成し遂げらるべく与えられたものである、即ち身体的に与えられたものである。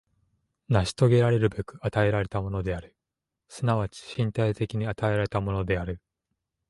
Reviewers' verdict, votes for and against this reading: accepted, 2, 0